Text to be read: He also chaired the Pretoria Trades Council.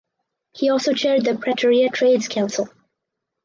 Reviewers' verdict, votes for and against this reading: accepted, 4, 0